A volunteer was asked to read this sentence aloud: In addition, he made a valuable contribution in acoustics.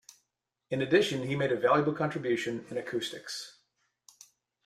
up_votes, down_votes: 2, 0